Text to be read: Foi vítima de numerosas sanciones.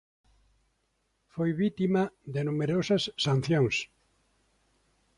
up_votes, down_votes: 2, 1